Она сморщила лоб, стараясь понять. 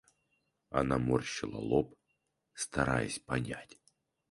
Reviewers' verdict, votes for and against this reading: rejected, 0, 4